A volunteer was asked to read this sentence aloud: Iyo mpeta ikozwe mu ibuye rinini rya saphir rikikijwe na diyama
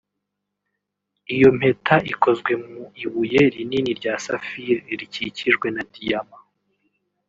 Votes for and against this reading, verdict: 0, 2, rejected